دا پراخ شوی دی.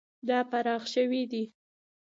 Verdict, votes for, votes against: accepted, 2, 0